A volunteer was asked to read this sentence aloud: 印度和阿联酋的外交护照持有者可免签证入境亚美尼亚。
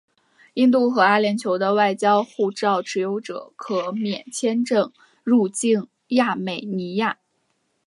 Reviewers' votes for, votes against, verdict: 3, 0, accepted